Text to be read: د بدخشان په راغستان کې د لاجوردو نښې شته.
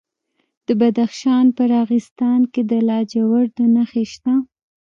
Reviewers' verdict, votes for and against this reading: rejected, 1, 2